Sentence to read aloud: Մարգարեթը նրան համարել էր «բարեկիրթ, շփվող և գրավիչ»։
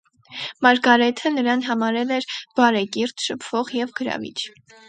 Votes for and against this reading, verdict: 6, 0, accepted